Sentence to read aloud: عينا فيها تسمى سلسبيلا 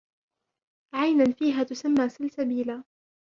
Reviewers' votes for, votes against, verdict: 2, 1, accepted